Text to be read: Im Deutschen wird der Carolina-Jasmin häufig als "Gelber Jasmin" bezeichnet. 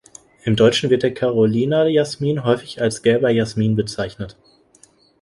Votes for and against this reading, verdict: 2, 0, accepted